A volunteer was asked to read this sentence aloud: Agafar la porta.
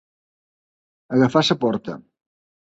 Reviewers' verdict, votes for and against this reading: rejected, 0, 2